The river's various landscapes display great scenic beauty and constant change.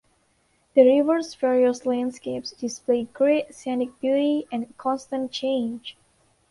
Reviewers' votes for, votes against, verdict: 2, 0, accepted